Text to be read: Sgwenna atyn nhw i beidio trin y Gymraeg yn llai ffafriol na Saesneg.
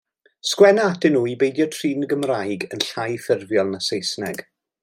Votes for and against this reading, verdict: 1, 2, rejected